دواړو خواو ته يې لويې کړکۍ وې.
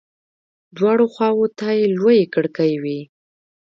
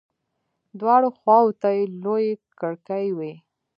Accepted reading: second